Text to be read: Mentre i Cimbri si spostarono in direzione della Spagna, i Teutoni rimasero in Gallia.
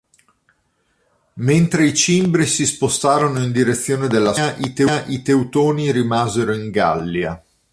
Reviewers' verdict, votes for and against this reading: rejected, 0, 2